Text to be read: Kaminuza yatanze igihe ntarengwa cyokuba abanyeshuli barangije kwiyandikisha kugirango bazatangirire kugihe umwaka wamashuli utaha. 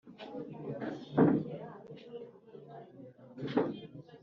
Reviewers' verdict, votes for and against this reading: rejected, 0, 2